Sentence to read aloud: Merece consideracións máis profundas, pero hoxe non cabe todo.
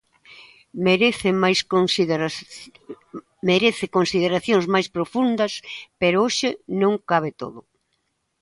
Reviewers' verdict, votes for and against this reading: rejected, 0, 2